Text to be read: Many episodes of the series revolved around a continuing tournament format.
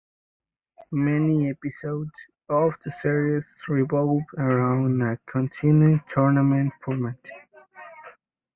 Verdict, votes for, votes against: rejected, 0, 2